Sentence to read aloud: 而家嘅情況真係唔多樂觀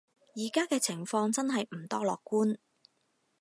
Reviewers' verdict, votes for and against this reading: accepted, 4, 0